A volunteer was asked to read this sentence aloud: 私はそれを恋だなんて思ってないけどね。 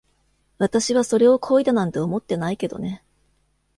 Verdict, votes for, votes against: accepted, 2, 0